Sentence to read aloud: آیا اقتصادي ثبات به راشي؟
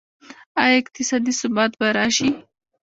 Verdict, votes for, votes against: rejected, 0, 2